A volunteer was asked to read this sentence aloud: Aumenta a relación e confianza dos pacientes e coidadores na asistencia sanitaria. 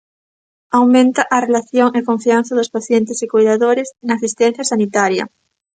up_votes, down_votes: 2, 0